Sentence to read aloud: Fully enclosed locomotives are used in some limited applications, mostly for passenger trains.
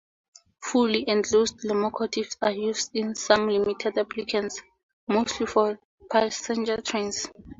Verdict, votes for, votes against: accepted, 4, 0